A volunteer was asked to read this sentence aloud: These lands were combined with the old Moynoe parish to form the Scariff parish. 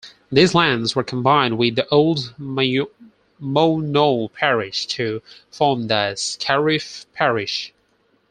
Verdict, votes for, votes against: rejected, 0, 4